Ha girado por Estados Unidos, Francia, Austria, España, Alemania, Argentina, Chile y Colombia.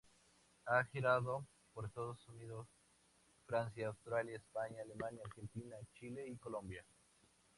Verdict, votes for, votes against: accepted, 2, 0